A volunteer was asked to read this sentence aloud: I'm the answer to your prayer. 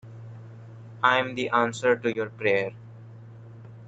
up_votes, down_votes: 3, 0